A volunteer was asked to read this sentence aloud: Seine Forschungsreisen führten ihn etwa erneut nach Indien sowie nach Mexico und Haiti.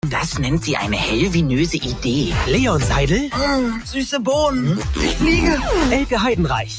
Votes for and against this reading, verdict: 0, 2, rejected